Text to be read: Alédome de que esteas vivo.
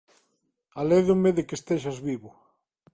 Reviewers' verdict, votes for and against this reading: rejected, 1, 2